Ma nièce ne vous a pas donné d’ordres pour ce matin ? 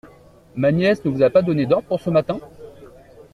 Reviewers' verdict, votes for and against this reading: accepted, 2, 0